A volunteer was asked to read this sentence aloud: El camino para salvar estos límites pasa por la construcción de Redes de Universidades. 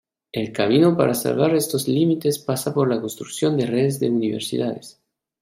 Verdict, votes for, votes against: accepted, 2, 0